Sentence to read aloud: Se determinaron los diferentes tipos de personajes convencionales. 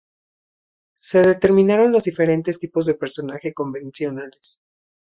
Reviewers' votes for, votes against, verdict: 2, 0, accepted